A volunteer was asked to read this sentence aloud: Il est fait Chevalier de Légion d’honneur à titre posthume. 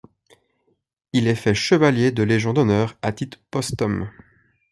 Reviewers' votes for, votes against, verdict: 0, 2, rejected